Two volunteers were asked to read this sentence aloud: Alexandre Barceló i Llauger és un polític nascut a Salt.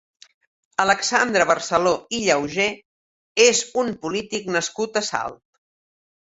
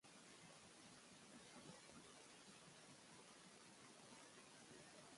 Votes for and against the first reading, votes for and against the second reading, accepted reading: 2, 0, 0, 2, first